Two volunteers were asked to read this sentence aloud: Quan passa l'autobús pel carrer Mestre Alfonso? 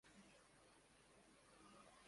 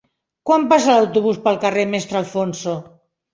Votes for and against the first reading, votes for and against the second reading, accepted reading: 0, 2, 3, 0, second